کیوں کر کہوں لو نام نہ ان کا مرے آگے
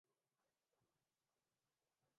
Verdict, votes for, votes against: rejected, 0, 2